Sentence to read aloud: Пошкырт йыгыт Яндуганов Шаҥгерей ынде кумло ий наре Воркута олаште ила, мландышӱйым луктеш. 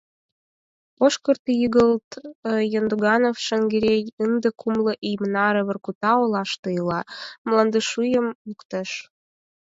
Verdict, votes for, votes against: accepted, 4, 2